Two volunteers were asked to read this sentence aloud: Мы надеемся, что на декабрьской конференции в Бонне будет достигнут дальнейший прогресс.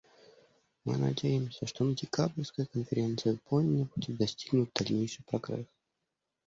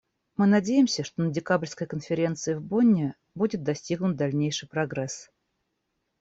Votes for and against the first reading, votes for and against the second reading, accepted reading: 1, 2, 2, 0, second